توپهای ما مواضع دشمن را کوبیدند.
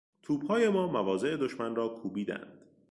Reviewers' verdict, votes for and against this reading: rejected, 1, 2